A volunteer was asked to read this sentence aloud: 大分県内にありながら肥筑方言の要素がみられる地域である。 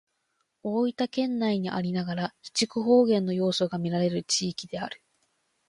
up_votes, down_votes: 2, 0